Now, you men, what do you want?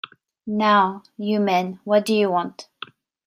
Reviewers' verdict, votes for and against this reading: accepted, 2, 0